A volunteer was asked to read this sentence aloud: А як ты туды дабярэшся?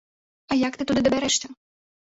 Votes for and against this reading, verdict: 1, 2, rejected